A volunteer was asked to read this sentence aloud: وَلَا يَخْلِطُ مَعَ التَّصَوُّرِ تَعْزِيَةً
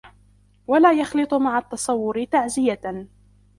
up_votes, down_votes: 2, 0